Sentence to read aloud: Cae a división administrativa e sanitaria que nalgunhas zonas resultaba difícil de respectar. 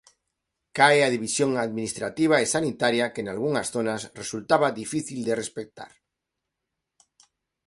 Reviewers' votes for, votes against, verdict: 2, 0, accepted